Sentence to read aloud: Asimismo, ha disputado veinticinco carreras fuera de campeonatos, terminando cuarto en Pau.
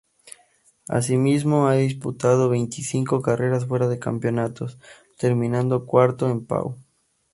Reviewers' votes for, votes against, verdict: 4, 0, accepted